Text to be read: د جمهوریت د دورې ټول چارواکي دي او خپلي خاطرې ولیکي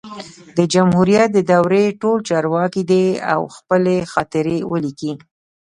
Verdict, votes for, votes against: rejected, 1, 2